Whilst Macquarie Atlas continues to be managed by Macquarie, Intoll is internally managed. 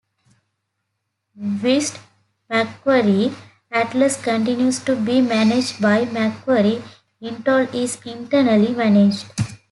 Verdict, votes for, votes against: rejected, 1, 2